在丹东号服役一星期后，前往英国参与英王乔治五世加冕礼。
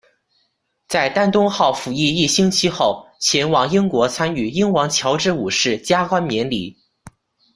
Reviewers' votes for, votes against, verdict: 0, 2, rejected